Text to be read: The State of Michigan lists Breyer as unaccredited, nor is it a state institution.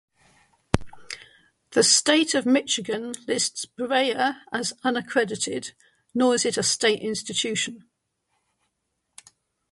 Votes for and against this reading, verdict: 3, 0, accepted